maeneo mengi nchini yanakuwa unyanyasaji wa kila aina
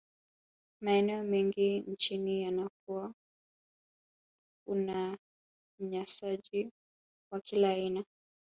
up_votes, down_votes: 1, 2